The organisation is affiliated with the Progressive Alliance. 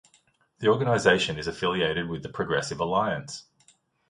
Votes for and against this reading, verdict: 2, 0, accepted